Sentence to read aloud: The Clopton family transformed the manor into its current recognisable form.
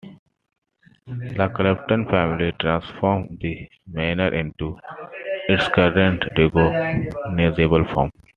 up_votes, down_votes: 1, 2